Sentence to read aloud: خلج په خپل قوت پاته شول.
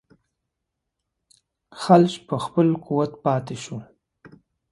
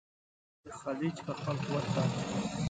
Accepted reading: first